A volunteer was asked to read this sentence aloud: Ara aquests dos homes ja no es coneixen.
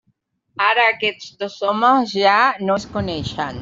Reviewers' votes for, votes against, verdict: 3, 1, accepted